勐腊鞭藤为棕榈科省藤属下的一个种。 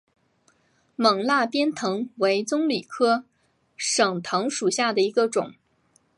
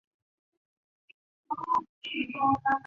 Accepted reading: first